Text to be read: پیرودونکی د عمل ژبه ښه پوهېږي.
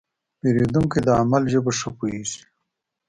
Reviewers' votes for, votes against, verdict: 2, 0, accepted